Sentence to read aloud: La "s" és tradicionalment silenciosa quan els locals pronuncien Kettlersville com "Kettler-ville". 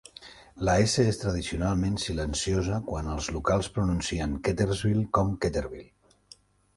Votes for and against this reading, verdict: 2, 0, accepted